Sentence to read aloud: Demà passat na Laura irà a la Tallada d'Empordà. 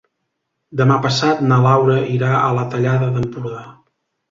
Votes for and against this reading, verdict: 3, 0, accepted